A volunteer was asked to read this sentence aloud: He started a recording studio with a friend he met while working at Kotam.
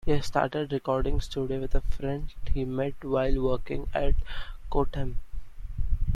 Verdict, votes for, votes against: accepted, 2, 1